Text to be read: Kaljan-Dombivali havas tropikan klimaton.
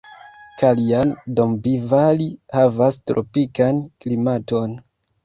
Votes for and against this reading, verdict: 1, 3, rejected